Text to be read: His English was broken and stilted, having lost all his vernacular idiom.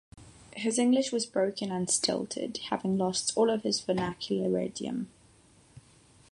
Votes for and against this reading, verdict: 6, 0, accepted